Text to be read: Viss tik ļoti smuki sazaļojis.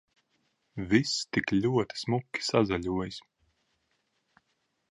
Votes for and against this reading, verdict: 2, 0, accepted